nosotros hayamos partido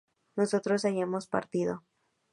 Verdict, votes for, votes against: accepted, 2, 0